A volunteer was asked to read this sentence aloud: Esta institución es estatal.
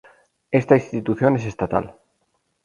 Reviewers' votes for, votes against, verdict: 2, 0, accepted